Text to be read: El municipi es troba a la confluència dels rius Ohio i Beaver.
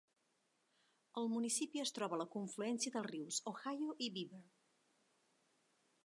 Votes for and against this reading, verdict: 1, 2, rejected